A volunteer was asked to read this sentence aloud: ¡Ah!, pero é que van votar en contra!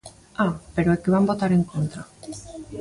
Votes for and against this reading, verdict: 1, 2, rejected